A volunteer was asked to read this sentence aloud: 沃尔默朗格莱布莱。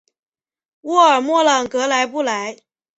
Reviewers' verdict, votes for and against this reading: accepted, 2, 0